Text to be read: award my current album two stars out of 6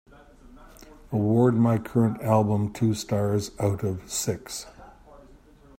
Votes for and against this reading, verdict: 0, 2, rejected